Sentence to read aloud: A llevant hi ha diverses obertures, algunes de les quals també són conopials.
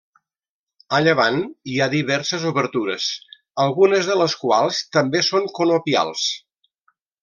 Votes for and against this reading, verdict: 3, 0, accepted